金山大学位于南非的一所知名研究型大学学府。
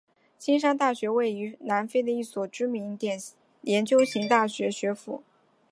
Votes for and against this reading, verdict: 0, 2, rejected